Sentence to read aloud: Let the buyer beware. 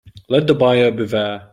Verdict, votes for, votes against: rejected, 1, 2